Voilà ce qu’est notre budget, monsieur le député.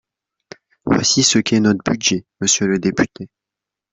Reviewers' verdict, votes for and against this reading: rejected, 0, 2